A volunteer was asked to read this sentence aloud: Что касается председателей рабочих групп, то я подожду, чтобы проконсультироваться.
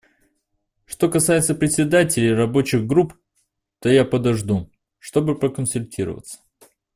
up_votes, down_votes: 2, 0